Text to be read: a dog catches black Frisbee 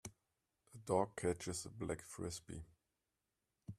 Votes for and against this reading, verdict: 2, 1, accepted